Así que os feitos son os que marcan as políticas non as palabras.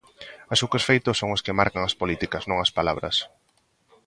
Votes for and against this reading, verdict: 1, 2, rejected